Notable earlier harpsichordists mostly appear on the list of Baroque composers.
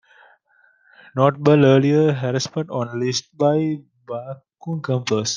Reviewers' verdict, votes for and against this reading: rejected, 1, 2